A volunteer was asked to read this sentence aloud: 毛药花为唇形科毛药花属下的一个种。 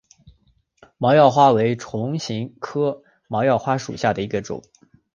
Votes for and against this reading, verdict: 4, 1, accepted